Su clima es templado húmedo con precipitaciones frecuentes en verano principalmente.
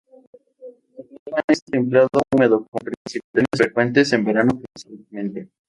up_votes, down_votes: 0, 2